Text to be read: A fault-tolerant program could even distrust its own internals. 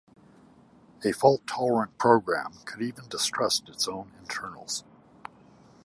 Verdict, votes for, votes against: accepted, 2, 0